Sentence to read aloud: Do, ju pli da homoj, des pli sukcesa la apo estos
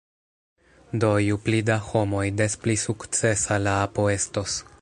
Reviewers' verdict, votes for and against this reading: accepted, 2, 0